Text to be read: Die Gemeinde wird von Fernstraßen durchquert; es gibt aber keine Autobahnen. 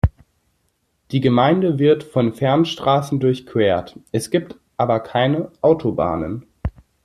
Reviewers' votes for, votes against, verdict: 2, 1, accepted